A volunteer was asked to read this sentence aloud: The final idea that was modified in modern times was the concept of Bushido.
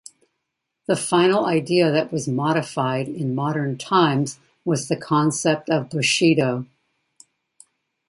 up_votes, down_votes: 2, 0